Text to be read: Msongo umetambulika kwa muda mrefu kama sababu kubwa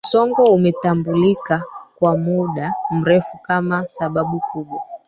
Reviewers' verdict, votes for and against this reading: accepted, 2, 1